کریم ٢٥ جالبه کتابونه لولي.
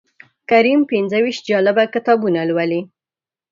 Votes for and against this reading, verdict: 0, 2, rejected